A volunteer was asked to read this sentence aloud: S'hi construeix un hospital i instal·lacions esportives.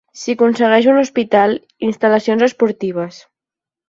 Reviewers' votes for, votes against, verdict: 5, 10, rejected